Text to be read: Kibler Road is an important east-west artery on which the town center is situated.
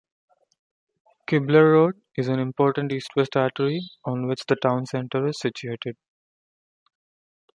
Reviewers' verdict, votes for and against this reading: accepted, 2, 0